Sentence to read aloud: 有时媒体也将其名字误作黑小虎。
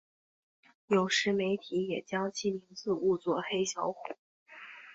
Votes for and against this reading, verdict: 3, 0, accepted